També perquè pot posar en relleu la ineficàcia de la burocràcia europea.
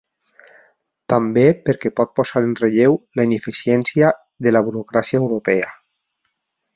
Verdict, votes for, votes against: rejected, 0, 2